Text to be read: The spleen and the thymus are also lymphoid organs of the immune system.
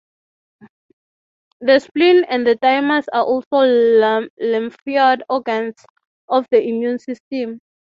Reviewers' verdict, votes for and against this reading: rejected, 0, 3